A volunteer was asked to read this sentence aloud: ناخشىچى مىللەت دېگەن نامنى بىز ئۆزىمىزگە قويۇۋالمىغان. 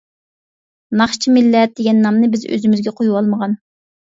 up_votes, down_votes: 2, 0